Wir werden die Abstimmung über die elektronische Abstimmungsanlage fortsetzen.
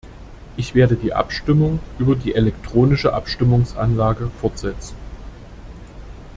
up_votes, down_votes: 0, 2